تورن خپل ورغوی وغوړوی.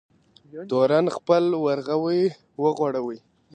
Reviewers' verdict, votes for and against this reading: rejected, 0, 2